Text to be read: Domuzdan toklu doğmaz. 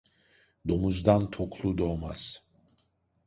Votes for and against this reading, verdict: 2, 0, accepted